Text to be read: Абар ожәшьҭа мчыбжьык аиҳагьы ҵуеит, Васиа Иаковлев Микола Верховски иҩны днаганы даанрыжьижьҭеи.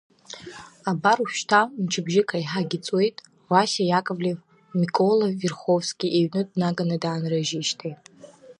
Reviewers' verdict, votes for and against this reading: accepted, 2, 0